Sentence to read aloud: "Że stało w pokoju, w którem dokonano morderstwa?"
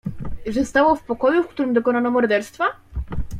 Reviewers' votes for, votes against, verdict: 1, 2, rejected